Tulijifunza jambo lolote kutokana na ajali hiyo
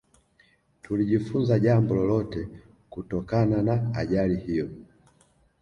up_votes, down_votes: 2, 0